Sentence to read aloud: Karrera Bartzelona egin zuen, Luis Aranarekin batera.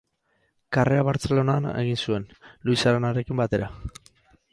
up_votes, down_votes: 4, 0